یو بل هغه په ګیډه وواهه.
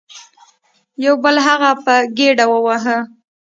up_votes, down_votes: 2, 0